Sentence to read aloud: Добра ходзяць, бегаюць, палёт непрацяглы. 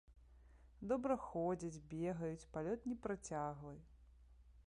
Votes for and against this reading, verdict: 0, 2, rejected